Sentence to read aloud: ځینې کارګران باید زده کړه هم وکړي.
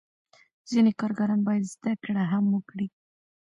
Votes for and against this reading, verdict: 2, 0, accepted